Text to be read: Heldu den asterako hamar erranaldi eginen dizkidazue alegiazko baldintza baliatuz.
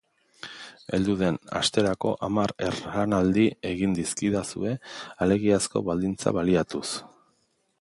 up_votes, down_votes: 1, 2